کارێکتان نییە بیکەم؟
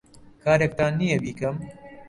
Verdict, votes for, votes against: accepted, 2, 0